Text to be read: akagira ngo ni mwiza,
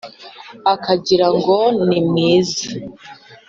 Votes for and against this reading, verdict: 2, 0, accepted